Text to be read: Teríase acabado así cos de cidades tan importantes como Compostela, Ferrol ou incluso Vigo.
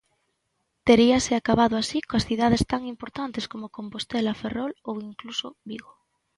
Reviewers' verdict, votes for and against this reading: rejected, 0, 2